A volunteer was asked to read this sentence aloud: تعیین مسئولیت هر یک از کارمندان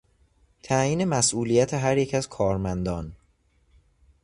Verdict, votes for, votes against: accepted, 2, 0